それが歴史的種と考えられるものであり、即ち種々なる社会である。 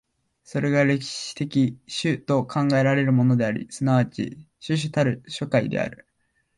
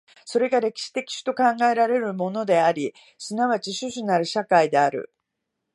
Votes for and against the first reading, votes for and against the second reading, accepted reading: 0, 2, 2, 0, second